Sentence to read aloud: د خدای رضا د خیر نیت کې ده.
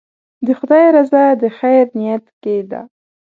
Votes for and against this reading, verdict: 2, 0, accepted